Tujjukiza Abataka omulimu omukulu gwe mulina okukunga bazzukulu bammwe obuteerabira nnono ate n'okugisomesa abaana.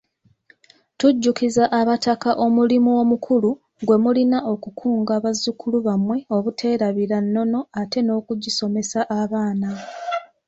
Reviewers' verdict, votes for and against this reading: accepted, 2, 0